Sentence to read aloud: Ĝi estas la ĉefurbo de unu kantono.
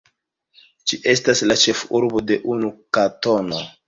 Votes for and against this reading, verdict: 0, 2, rejected